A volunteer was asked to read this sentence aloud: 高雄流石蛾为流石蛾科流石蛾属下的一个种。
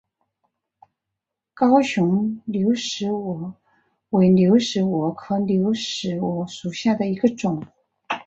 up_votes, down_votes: 5, 1